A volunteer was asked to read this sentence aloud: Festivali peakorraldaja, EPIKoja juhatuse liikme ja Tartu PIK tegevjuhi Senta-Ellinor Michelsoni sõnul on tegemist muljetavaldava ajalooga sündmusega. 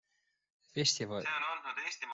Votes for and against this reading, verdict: 0, 2, rejected